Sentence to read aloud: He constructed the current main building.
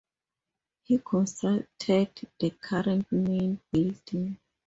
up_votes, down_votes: 0, 2